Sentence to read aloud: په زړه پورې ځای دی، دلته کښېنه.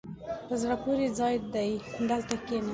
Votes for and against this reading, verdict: 2, 1, accepted